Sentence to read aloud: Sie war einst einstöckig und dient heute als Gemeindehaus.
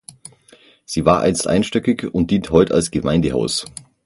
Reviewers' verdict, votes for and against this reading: rejected, 0, 6